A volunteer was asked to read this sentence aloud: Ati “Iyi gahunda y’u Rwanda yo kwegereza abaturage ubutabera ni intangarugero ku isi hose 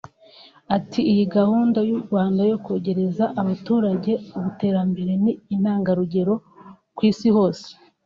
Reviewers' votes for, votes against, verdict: 0, 2, rejected